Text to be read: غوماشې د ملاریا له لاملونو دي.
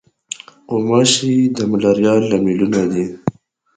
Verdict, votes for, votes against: accepted, 2, 0